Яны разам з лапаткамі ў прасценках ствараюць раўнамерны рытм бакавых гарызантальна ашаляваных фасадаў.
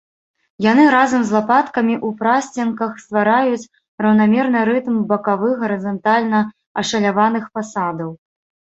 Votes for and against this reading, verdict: 0, 2, rejected